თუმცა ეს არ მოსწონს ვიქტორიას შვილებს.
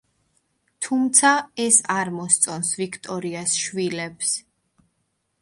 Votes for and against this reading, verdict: 2, 0, accepted